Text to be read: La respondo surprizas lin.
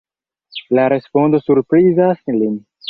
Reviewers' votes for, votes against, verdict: 0, 2, rejected